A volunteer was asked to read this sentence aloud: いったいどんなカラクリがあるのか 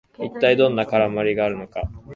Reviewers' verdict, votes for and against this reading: rejected, 1, 2